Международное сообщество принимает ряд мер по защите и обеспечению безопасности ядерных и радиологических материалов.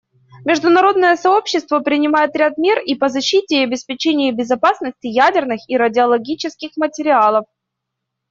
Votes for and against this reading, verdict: 1, 2, rejected